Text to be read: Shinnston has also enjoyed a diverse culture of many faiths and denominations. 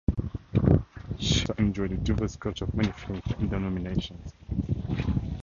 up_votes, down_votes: 0, 4